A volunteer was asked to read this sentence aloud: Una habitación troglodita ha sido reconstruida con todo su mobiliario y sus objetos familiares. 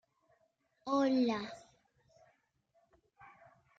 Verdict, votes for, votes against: rejected, 0, 2